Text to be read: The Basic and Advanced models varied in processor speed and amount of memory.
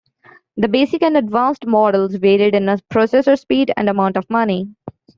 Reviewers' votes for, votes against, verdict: 1, 2, rejected